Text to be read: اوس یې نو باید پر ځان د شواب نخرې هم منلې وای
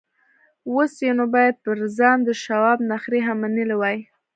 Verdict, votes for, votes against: rejected, 0, 2